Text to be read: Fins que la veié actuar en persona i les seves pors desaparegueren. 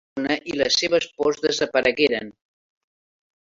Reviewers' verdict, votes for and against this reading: rejected, 0, 2